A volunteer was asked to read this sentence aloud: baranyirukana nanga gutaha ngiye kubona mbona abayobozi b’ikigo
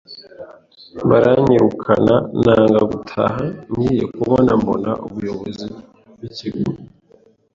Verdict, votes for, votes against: rejected, 1, 2